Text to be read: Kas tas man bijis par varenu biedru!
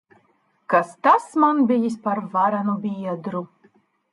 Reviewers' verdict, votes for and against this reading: accepted, 2, 0